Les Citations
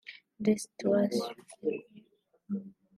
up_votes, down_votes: 1, 2